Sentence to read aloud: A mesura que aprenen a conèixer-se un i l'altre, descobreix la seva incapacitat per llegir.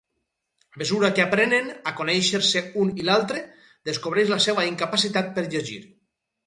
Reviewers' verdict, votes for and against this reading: rejected, 2, 2